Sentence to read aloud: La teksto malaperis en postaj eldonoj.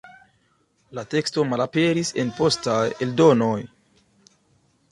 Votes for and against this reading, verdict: 2, 0, accepted